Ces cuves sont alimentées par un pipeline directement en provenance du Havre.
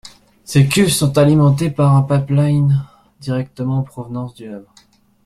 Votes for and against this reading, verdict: 2, 1, accepted